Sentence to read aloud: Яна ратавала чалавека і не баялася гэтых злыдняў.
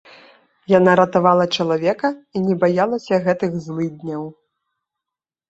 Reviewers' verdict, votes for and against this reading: accepted, 2, 0